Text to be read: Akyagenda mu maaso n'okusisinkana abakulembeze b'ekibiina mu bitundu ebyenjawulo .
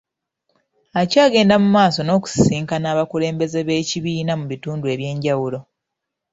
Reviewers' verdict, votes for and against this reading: accepted, 2, 1